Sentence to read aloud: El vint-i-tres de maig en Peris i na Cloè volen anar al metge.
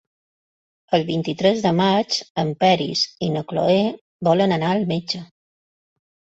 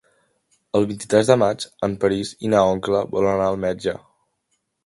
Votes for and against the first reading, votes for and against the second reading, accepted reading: 3, 0, 0, 2, first